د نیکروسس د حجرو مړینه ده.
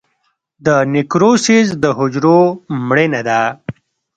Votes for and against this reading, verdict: 2, 0, accepted